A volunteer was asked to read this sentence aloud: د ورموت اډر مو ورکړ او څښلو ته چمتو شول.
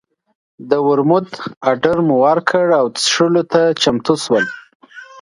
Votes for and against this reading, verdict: 2, 0, accepted